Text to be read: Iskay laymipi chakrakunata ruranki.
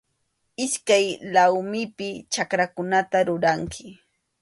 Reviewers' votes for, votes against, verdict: 2, 0, accepted